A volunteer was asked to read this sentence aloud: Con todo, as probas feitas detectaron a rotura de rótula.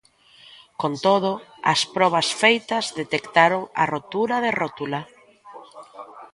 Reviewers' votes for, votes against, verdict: 2, 0, accepted